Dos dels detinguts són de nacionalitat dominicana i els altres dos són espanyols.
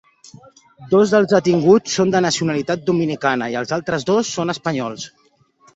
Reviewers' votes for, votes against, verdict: 4, 2, accepted